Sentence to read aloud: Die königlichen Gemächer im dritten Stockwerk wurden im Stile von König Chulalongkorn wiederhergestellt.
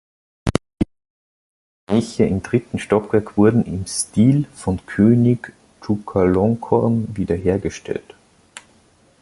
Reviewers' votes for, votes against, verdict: 0, 2, rejected